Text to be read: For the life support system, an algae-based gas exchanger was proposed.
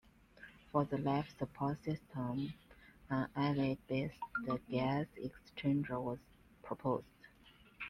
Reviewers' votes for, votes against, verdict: 1, 2, rejected